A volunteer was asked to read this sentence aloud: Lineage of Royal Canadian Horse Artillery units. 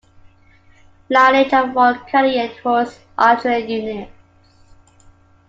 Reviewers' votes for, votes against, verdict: 2, 1, accepted